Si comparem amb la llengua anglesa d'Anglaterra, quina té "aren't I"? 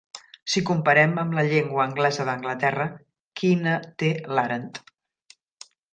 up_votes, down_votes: 1, 2